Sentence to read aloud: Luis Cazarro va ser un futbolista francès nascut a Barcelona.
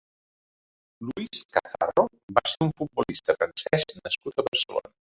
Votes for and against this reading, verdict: 0, 2, rejected